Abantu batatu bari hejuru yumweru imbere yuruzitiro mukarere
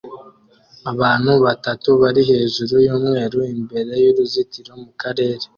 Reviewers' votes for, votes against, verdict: 2, 0, accepted